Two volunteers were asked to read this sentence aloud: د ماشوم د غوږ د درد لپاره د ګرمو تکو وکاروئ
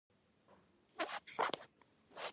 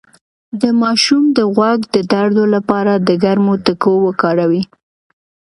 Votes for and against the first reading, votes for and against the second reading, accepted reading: 0, 2, 2, 0, second